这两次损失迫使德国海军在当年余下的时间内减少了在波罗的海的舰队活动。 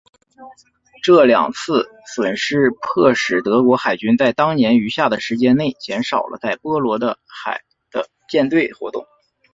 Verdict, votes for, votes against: accepted, 5, 1